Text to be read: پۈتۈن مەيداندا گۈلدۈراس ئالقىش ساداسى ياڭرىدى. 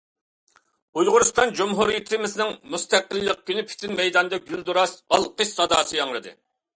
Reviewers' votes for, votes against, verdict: 0, 2, rejected